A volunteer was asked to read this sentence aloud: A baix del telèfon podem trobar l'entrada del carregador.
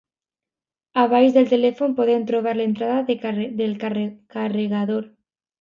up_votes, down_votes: 2, 1